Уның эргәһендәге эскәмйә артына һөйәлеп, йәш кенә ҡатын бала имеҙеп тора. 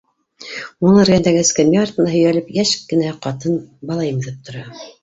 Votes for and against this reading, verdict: 0, 2, rejected